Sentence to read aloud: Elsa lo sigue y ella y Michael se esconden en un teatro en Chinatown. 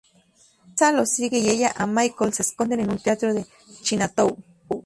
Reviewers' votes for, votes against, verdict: 2, 2, rejected